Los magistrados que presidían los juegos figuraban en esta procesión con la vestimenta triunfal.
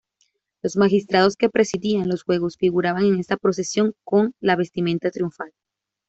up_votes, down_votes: 2, 0